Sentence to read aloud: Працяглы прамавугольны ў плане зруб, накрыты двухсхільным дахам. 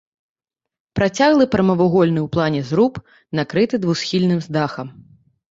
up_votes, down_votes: 1, 2